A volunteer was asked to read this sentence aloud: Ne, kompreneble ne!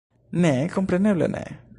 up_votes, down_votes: 1, 2